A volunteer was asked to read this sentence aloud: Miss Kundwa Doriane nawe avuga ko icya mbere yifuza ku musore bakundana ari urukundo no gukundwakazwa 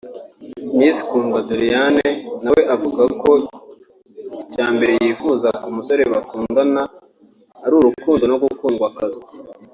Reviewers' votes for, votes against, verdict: 2, 0, accepted